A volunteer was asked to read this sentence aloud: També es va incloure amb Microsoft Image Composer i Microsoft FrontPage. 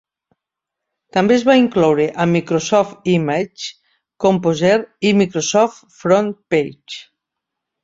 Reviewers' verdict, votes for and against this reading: accepted, 2, 1